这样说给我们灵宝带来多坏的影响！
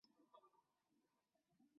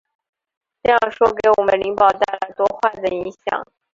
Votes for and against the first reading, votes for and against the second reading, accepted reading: 1, 3, 5, 0, second